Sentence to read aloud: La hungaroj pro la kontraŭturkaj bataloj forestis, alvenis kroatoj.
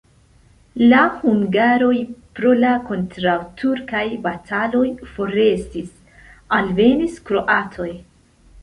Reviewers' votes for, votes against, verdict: 2, 1, accepted